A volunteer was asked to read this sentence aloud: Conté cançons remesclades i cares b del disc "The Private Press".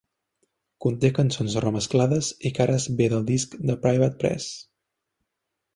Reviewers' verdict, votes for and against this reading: accepted, 2, 0